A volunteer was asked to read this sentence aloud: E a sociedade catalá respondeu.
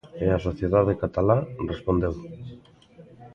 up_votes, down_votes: 2, 0